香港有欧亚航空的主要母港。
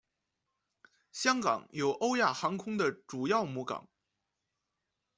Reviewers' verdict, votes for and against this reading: accepted, 2, 0